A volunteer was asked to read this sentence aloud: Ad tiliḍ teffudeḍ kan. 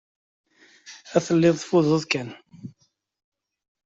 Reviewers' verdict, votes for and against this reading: rejected, 0, 2